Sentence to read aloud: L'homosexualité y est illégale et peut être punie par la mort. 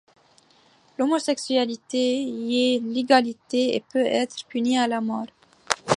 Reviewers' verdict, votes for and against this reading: accepted, 2, 1